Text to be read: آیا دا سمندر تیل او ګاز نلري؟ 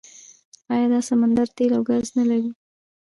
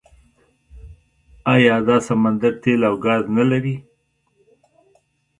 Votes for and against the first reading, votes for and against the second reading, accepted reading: 1, 2, 2, 0, second